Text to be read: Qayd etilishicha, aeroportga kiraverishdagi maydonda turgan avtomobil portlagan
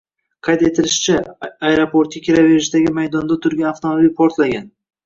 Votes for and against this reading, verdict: 2, 0, accepted